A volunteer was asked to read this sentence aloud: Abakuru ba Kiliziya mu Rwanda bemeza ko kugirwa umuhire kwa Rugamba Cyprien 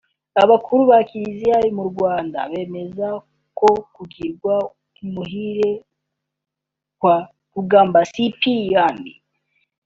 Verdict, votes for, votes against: accepted, 3, 1